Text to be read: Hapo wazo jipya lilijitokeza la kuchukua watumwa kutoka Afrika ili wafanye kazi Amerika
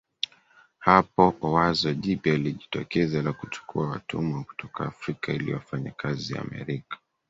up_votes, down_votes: 0, 2